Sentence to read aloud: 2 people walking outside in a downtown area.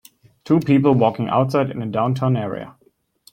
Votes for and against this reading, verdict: 0, 2, rejected